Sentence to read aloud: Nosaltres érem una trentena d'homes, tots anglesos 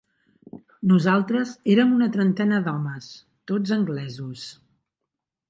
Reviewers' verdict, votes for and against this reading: accepted, 3, 0